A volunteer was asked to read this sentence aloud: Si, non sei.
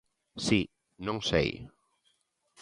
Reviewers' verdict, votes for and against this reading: accepted, 2, 0